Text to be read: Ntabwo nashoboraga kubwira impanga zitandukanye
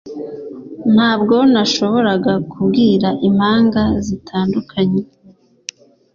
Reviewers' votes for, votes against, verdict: 2, 0, accepted